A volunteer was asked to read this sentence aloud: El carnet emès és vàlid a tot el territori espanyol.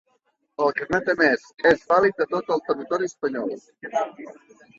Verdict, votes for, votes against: rejected, 1, 2